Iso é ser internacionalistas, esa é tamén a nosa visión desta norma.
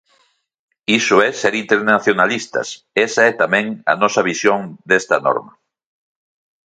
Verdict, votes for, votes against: accepted, 2, 0